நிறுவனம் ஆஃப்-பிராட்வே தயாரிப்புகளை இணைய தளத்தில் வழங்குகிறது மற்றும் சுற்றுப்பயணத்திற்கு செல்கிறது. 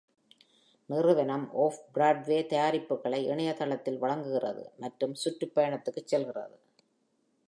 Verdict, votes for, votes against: accepted, 2, 0